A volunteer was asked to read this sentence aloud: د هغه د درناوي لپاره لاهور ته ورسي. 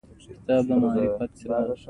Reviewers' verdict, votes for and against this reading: accepted, 2, 0